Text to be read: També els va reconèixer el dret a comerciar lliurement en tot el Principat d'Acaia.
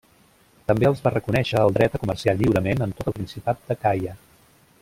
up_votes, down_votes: 0, 2